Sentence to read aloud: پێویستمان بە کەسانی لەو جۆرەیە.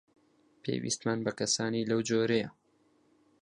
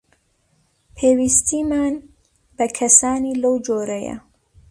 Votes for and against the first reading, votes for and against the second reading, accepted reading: 4, 0, 0, 2, first